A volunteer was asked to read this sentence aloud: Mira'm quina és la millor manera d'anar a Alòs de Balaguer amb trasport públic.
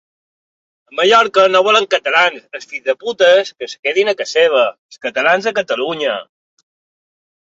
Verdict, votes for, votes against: rejected, 0, 2